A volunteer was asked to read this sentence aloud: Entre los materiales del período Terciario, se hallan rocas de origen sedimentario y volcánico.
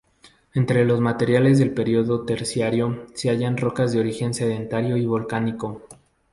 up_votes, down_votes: 2, 0